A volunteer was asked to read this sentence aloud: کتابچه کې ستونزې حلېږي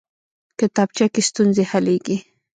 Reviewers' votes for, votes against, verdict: 1, 2, rejected